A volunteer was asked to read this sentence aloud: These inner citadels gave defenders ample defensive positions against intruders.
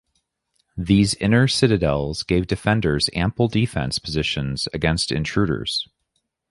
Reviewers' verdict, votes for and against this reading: rejected, 1, 3